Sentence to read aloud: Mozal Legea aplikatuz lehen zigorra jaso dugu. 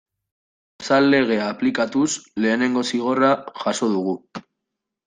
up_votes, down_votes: 0, 2